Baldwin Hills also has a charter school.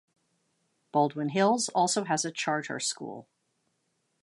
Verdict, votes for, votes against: accepted, 2, 0